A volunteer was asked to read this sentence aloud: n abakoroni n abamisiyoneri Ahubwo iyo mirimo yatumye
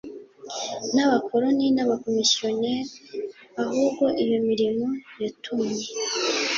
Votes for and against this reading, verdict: 2, 1, accepted